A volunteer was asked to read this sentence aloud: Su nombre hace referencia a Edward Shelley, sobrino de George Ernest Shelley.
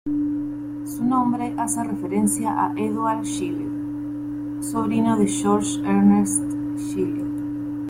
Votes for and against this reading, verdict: 0, 2, rejected